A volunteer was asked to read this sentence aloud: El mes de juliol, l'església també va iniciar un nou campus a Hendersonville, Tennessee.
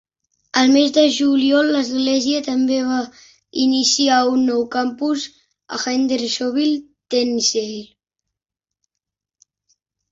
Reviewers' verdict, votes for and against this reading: rejected, 1, 2